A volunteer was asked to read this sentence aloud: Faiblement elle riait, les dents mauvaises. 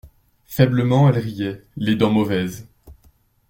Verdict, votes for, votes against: accepted, 2, 0